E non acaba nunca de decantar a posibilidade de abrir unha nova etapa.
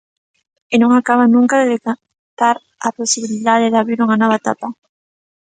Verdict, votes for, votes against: rejected, 1, 2